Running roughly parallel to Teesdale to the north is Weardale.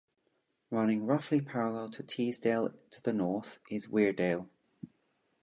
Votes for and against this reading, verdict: 2, 0, accepted